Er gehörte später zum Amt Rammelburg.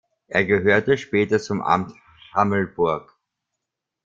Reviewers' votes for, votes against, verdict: 0, 2, rejected